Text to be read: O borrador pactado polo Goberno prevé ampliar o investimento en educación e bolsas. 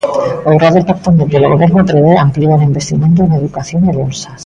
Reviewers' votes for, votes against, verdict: 0, 2, rejected